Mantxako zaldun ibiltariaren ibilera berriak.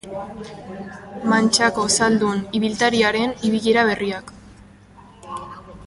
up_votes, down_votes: 2, 0